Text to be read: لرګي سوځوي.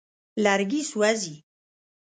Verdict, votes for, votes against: rejected, 1, 2